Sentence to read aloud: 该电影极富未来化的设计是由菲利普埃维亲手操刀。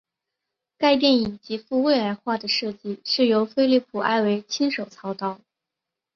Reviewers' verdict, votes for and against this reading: accepted, 5, 0